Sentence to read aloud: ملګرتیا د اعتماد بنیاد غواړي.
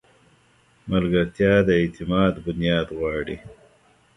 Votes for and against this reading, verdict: 2, 1, accepted